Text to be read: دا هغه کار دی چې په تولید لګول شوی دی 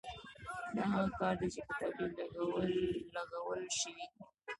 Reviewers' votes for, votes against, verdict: 0, 2, rejected